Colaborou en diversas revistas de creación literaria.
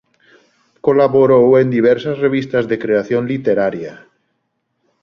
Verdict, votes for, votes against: accepted, 3, 1